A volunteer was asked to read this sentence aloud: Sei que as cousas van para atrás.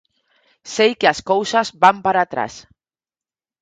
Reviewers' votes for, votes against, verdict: 4, 0, accepted